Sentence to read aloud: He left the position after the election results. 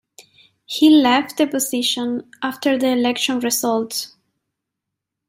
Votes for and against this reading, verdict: 1, 2, rejected